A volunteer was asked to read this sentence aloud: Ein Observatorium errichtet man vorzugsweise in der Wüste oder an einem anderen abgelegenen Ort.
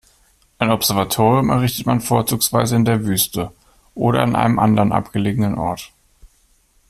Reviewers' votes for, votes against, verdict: 2, 0, accepted